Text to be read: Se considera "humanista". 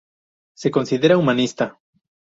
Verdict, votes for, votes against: accepted, 2, 0